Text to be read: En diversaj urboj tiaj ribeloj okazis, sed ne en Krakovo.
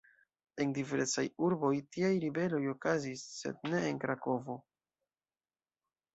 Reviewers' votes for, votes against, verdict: 2, 3, rejected